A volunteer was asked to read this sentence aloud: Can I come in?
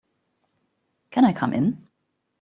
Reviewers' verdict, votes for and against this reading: accepted, 2, 0